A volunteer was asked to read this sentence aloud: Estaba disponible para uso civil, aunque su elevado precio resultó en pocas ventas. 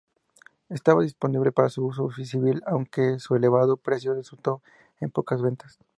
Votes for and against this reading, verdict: 2, 0, accepted